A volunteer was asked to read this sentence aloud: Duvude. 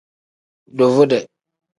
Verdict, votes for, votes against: accepted, 2, 0